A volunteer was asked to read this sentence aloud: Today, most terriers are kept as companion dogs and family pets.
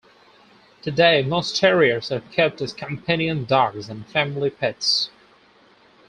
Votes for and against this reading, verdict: 2, 2, rejected